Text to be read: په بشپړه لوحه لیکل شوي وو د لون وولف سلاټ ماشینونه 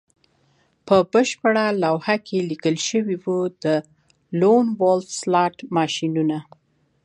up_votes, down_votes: 2, 0